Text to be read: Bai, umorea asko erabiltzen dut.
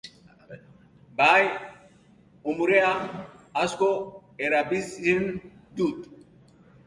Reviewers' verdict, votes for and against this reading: accepted, 3, 0